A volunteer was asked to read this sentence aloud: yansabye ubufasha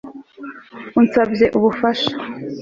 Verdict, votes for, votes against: rejected, 2, 3